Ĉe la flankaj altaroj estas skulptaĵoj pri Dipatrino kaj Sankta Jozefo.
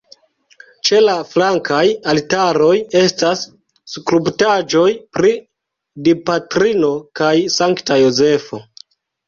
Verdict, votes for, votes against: rejected, 0, 2